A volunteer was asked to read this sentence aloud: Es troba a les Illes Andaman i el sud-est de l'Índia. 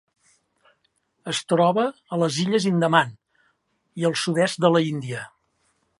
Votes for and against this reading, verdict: 1, 2, rejected